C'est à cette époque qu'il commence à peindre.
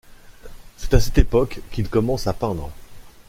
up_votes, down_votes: 2, 0